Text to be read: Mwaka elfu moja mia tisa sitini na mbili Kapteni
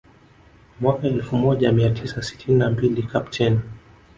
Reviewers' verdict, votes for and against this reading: accepted, 2, 0